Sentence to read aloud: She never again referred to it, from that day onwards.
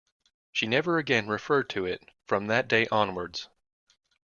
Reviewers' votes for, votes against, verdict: 2, 0, accepted